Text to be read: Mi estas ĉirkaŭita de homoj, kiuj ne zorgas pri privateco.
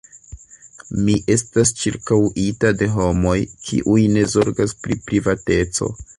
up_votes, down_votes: 2, 1